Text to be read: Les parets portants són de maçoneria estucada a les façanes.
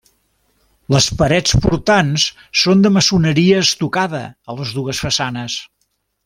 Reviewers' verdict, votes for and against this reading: rejected, 0, 2